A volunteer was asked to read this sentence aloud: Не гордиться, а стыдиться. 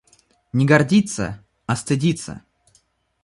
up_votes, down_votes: 2, 0